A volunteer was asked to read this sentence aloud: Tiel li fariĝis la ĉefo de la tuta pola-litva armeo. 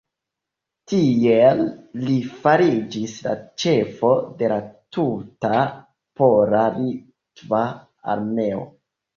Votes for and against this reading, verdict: 2, 0, accepted